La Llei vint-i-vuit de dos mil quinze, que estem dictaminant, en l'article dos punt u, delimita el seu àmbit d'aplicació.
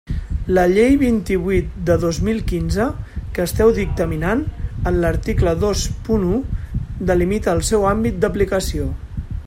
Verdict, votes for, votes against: rejected, 0, 2